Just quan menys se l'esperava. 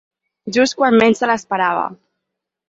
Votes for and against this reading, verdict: 6, 0, accepted